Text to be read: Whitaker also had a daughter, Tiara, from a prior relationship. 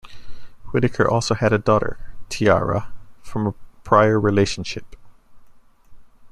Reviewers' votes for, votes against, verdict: 2, 0, accepted